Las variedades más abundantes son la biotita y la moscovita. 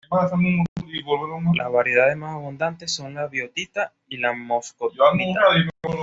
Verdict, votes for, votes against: rejected, 0, 2